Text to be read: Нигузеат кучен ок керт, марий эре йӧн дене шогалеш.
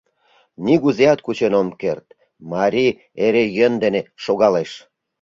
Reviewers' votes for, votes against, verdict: 0, 2, rejected